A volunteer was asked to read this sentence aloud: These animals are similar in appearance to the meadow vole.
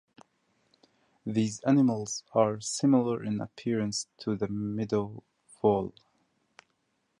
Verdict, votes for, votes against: accepted, 2, 0